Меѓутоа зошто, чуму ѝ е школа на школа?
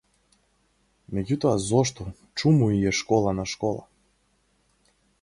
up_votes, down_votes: 4, 0